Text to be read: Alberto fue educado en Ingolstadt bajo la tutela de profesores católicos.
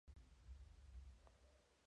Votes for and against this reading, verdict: 0, 4, rejected